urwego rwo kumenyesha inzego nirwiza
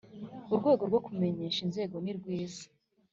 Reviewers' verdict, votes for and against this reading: accepted, 4, 0